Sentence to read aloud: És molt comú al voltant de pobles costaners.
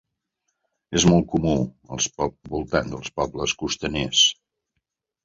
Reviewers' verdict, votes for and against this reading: rejected, 0, 2